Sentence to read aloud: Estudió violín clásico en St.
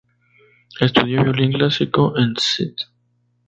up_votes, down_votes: 0, 2